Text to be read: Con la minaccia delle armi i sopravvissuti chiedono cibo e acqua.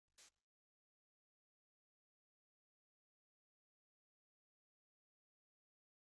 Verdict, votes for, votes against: rejected, 0, 2